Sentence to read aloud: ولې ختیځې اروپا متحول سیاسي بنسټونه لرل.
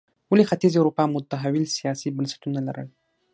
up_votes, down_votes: 6, 0